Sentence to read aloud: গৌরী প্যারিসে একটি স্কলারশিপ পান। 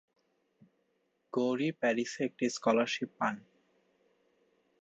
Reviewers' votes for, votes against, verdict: 2, 0, accepted